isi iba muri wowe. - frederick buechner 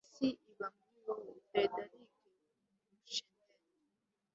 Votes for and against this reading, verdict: 1, 2, rejected